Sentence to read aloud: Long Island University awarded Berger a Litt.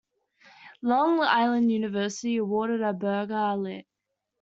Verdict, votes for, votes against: rejected, 0, 2